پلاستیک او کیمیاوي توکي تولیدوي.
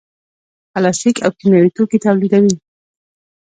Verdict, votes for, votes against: accepted, 2, 1